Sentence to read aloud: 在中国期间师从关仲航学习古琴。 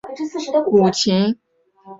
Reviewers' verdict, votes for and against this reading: accepted, 2, 1